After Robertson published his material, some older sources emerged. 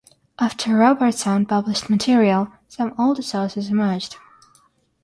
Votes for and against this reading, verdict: 0, 3, rejected